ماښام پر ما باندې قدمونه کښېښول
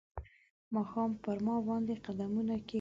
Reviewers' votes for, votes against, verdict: 1, 2, rejected